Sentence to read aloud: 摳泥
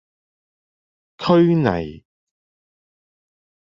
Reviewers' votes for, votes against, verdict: 1, 2, rejected